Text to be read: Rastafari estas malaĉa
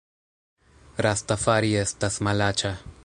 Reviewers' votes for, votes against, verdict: 2, 0, accepted